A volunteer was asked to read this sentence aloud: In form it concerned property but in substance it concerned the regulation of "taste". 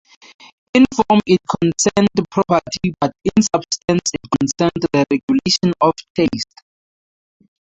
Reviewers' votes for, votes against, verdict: 0, 2, rejected